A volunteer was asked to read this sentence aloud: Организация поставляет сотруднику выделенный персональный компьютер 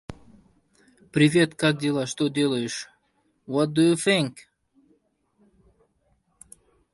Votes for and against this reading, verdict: 0, 2, rejected